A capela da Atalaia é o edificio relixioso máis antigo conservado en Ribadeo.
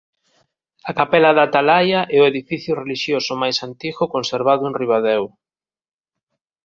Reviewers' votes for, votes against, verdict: 3, 0, accepted